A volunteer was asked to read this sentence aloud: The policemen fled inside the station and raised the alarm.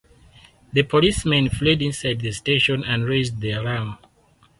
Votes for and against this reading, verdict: 2, 0, accepted